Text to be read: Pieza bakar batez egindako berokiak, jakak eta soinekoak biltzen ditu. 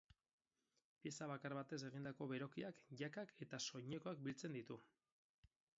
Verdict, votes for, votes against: accepted, 4, 2